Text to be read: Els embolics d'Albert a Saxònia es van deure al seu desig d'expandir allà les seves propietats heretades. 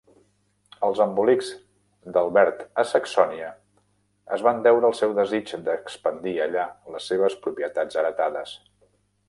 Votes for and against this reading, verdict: 2, 0, accepted